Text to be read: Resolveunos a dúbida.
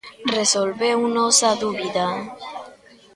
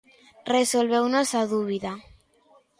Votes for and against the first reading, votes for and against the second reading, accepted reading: 1, 2, 2, 0, second